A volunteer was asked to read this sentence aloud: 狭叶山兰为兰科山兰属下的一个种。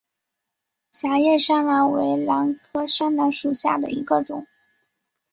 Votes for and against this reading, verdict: 2, 0, accepted